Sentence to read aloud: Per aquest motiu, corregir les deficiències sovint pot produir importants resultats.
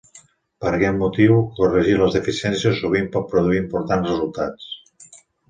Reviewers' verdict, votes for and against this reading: accepted, 2, 0